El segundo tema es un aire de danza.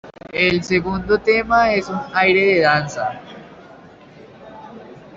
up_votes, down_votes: 2, 0